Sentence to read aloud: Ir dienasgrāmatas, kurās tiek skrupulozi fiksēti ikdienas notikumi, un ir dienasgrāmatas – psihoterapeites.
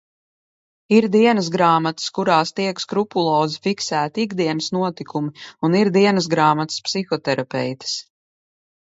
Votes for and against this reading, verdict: 2, 0, accepted